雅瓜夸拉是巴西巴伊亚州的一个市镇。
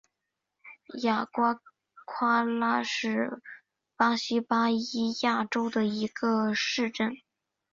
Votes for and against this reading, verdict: 3, 0, accepted